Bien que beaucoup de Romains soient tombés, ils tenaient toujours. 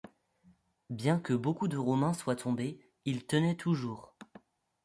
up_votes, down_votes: 2, 0